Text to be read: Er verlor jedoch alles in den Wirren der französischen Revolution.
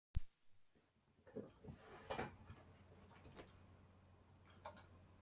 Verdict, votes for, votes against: rejected, 0, 2